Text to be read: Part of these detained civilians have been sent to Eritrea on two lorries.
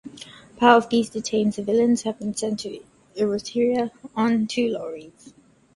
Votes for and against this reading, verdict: 0, 2, rejected